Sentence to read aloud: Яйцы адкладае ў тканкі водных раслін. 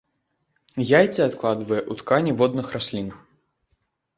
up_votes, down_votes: 0, 2